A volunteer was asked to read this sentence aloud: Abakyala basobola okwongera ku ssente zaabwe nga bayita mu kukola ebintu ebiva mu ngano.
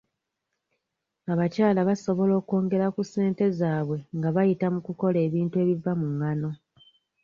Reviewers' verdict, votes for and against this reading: accepted, 2, 0